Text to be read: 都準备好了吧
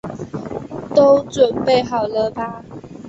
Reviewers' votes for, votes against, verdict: 2, 0, accepted